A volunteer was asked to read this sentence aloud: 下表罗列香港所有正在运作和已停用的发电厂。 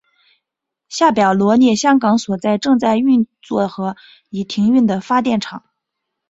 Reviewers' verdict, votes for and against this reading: accepted, 2, 0